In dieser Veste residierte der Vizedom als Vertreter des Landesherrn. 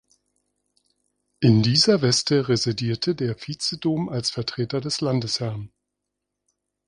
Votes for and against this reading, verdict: 0, 2, rejected